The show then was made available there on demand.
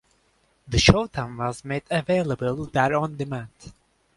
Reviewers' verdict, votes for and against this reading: rejected, 1, 2